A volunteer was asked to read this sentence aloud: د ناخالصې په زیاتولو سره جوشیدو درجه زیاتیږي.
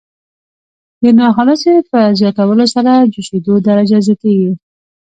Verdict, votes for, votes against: accepted, 2, 1